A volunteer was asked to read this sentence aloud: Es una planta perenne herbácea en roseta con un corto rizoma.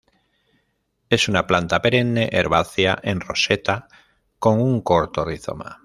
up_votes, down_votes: 2, 0